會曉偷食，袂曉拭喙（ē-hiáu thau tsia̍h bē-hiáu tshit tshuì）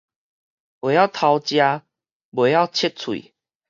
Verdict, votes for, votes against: rejected, 2, 4